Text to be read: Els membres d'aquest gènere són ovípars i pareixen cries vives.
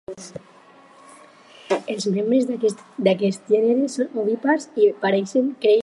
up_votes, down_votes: 0, 4